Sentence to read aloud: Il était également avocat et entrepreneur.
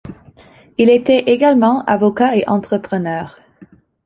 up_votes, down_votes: 2, 0